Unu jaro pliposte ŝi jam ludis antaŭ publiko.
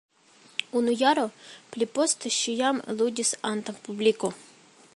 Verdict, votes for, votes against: accepted, 2, 1